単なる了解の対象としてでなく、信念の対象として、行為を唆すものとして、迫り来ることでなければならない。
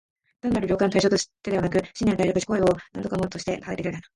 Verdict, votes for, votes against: rejected, 2, 9